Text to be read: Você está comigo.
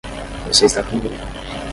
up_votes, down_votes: 0, 10